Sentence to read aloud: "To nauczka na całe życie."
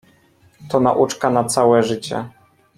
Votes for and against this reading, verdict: 2, 0, accepted